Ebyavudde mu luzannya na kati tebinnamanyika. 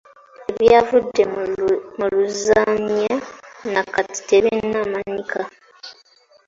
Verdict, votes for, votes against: rejected, 0, 2